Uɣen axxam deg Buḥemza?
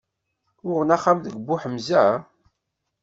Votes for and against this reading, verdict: 2, 0, accepted